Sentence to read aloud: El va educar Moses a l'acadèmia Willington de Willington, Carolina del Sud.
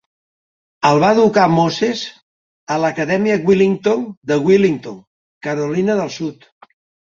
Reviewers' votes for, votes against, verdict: 4, 0, accepted